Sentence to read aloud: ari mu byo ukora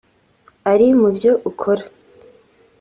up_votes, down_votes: 2, 0